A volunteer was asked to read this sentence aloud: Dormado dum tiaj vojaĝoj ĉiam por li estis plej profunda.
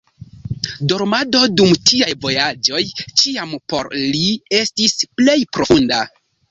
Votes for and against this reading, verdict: 1, 2, rejected